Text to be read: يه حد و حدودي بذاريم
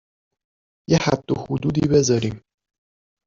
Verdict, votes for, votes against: rejected, 0, 2